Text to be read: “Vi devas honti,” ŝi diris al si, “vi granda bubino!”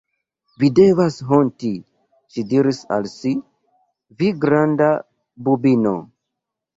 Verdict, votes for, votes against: accepted, 2, 0